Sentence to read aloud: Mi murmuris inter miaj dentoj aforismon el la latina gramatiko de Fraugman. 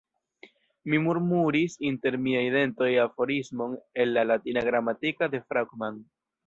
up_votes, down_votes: 1, 2